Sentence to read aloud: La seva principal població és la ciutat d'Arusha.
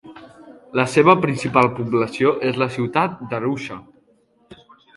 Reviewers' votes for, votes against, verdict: 2, 0, accepted